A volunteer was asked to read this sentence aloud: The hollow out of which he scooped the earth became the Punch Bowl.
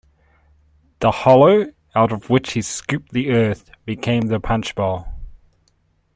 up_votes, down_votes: 2, 0